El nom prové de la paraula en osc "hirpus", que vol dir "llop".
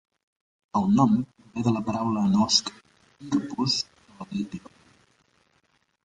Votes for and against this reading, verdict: 0, 2, rejected